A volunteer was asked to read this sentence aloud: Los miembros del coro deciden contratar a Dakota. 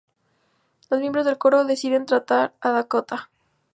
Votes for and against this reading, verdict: 0, 4, rejected